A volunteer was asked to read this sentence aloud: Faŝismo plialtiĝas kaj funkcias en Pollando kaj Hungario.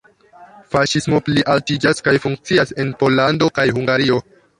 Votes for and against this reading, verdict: 1, 2, rejected